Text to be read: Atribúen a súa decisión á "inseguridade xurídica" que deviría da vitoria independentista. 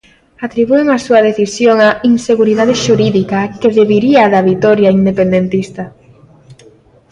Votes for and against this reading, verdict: 2, 0, accepted